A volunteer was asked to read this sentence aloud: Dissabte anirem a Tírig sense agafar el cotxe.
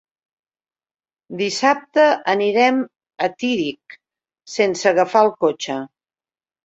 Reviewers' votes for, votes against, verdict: 3, 0, accepted